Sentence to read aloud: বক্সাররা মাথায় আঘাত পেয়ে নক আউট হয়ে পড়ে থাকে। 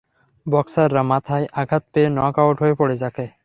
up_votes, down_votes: 3, 0